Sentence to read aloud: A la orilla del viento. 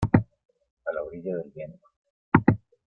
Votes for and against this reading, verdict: 1, 2, rejected